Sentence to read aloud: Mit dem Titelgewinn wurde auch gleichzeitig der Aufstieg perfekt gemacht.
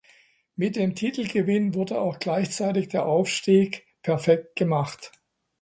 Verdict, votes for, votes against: accepted, 2, 1